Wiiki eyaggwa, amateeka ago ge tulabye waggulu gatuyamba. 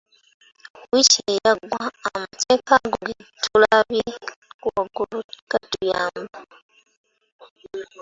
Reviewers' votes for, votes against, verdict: 2, 1, accepted